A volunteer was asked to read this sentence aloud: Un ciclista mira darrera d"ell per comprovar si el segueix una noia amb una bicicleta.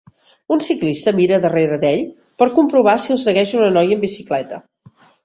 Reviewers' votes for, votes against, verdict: 1, 2, rejected